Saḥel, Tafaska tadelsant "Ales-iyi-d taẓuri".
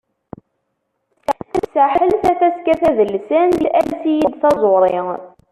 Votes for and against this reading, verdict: 1, 2, rejected